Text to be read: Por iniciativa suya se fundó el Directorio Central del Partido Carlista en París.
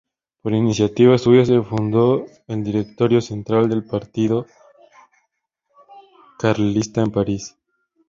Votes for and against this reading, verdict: 0, 4, rejected